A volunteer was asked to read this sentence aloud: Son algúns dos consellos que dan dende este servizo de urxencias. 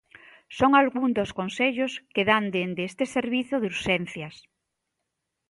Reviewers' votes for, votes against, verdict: 2, 0, accepted